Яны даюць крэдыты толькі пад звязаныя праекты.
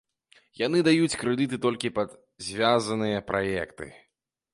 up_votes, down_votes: 1, 2